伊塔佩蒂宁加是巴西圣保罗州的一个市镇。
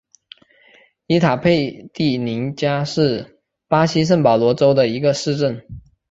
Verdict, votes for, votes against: accepted, 3, 0